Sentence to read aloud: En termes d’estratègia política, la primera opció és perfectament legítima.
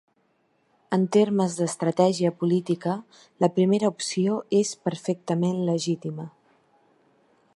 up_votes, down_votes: 3, 0